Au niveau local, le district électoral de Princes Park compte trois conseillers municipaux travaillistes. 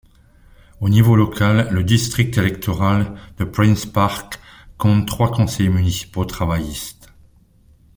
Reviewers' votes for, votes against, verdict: 1, 2, rejected